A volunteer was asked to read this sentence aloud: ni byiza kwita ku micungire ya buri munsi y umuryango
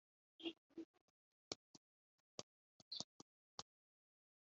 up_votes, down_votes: 1, 2